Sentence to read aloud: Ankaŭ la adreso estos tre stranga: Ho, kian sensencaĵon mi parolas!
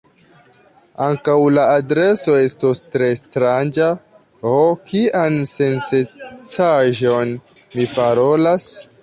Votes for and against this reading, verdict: 0, 2, rejected